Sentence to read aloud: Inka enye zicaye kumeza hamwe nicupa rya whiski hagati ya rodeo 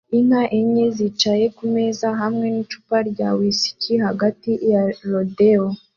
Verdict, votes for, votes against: accepted, 2, 0